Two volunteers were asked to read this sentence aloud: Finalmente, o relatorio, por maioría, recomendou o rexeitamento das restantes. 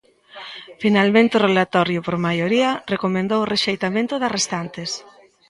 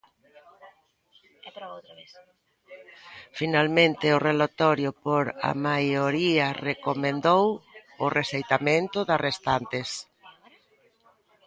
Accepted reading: first